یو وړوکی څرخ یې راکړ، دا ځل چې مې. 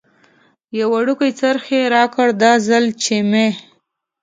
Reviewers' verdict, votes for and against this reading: rejected, 0, 2